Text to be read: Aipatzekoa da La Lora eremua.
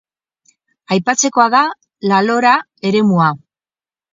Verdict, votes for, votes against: accepted, 4, 0